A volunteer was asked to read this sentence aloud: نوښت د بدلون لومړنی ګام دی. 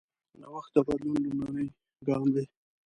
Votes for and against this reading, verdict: 1, 2, rejected